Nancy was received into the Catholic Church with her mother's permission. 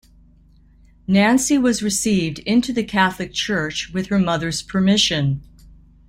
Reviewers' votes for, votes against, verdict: 2, 0, accepted